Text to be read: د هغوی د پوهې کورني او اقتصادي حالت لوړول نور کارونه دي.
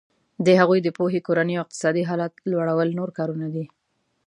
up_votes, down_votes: 2, 0